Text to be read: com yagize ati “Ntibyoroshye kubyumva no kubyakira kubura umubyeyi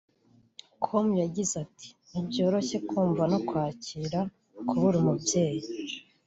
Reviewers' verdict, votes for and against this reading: rejected, 2, 3